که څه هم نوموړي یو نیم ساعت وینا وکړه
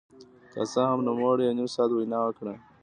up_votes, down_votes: 2, 0